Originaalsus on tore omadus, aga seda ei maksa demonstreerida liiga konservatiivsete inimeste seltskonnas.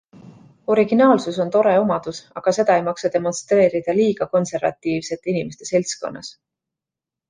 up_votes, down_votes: 2, 1